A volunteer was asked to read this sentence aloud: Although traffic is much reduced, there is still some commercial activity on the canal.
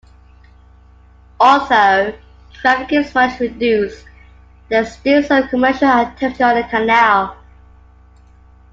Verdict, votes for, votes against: accepted, 2, 1